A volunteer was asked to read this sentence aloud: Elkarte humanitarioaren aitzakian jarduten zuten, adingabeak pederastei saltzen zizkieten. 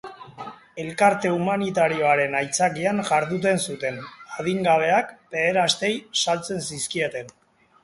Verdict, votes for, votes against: rejected, 0, 2